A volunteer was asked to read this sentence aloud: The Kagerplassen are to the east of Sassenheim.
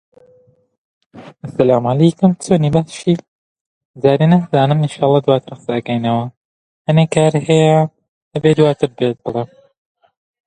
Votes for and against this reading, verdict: 0, 2, rejected